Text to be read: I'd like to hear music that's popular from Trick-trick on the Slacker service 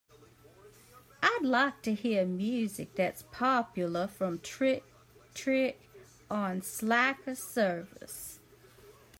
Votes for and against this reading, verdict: 2, 1, accepted